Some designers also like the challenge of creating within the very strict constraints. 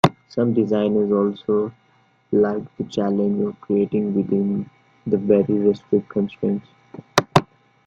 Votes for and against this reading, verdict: 0, 2, rejected